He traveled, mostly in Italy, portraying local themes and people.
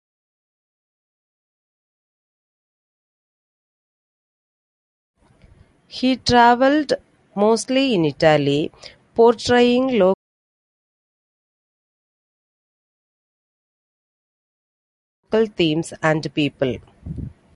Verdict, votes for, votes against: rejected, 0, 2